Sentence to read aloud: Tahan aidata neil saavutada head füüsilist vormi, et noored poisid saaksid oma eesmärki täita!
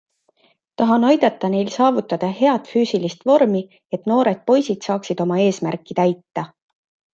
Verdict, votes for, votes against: accepted, 2, 0